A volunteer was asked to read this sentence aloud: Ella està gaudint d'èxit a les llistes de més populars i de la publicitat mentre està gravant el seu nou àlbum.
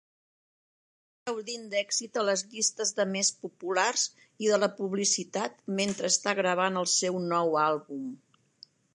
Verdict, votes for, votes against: rejected, 1, 2